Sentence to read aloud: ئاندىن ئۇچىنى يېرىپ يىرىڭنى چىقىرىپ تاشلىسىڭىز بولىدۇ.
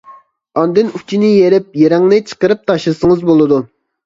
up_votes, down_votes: 3, 0